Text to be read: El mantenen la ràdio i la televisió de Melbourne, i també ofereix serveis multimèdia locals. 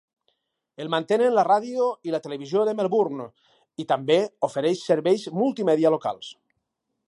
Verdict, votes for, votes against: accepted, 2, 0